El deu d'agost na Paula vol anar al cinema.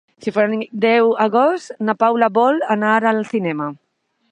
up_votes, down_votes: 0, 2